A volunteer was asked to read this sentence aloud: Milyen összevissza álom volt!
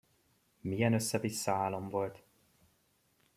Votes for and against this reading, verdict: 2, 0, accepted